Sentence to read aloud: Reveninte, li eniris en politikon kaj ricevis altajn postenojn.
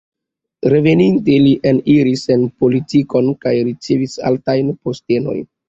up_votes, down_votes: 2, 0